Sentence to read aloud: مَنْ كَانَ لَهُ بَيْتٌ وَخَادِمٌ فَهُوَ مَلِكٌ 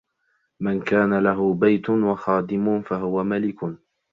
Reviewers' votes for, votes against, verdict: 2, 0, accepted